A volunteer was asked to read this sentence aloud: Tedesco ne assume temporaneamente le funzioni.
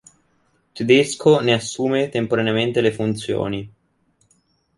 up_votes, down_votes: 2, 0